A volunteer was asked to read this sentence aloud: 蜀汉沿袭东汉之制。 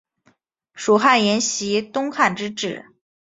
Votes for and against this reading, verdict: 2, 0, accepted